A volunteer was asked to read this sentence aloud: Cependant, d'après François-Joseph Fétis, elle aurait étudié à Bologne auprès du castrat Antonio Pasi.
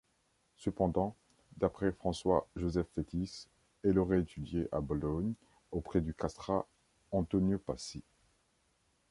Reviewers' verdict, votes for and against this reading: accepted, 2, 1